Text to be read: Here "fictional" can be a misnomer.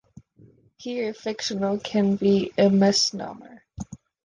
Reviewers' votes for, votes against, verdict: 2, 0, accepted